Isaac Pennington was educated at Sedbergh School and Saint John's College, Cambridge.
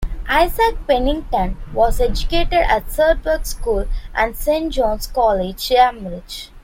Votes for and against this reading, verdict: 0, 2, rejected